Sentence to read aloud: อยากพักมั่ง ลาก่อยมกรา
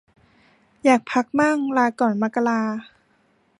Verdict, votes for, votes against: rejected, 0, 2